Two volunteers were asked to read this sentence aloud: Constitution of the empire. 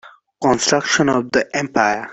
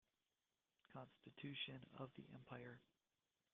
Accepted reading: second